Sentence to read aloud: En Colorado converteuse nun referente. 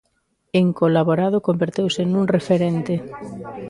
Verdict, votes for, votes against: rejected, 0, 2